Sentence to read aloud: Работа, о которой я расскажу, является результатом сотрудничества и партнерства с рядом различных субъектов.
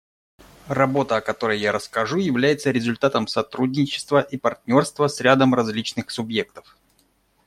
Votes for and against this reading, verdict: 2, 0, accepted